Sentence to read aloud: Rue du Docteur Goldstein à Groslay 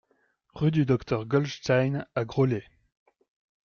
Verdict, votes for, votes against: accepted, 2, 0